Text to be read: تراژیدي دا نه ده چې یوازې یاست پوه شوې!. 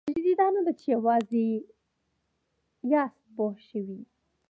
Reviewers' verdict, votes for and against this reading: accepted, 2, 1